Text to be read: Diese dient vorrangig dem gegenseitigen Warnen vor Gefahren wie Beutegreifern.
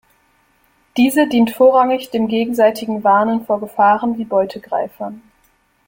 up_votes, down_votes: 2, 0